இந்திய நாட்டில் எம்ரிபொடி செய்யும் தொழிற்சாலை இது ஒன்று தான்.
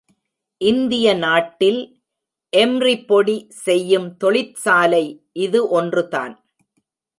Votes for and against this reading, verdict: 2, 0, accepted